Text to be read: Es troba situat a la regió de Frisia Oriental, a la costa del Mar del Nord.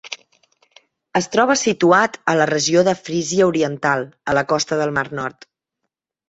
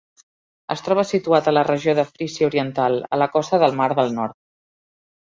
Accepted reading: second